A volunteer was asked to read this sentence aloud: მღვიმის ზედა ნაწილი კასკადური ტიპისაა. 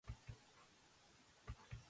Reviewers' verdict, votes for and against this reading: rejected, 0, 2